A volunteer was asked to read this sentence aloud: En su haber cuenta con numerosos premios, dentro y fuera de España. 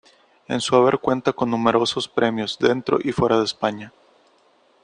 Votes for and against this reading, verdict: 2, 0, accepted